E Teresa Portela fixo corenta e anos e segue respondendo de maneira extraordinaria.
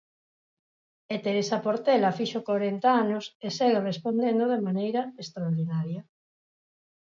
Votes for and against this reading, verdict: 2, 2, rejected